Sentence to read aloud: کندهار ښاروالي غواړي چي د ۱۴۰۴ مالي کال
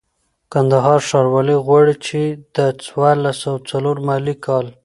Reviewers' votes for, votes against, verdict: 0, 2, rejected